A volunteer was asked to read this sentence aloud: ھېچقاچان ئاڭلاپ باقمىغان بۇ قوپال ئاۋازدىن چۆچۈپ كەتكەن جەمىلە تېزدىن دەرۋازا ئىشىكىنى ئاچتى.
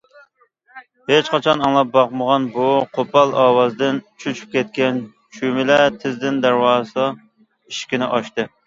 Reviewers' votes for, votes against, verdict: 0, 2, rejected